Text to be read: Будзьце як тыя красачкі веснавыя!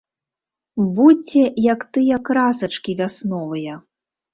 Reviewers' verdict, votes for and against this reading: rejected, 0, 3